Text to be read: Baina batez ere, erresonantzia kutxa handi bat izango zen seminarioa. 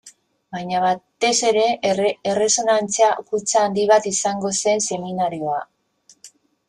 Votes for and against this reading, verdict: 0, 2, rejected